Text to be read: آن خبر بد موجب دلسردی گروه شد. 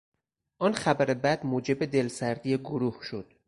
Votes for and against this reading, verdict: 4, 0, accepted